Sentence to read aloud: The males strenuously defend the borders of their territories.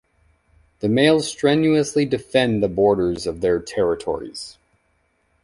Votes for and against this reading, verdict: 2, 1, accepted